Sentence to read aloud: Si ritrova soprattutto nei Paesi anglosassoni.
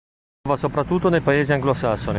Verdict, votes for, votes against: rejected, 1, 2